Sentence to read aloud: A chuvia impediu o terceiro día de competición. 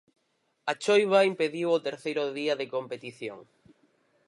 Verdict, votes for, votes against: rejected, 0, 4